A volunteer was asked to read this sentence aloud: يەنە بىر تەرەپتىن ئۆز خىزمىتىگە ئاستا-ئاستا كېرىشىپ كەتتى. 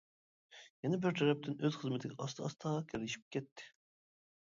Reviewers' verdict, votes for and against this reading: accepted, 2, 0